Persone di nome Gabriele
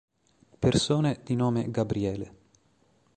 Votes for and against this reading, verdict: 2, 0, accepted